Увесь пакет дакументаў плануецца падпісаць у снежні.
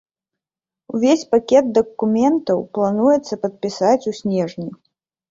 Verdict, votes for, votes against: accepted, 2, 0